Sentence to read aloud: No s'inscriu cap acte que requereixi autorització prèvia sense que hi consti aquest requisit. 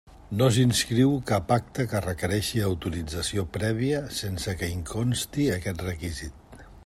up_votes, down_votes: 2, 0